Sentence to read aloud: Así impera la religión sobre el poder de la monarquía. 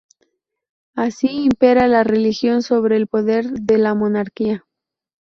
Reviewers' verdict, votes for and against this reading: rejected, 2, 2